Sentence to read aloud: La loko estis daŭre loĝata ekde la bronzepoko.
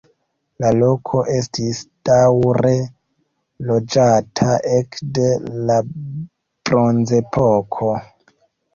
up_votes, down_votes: 3, 0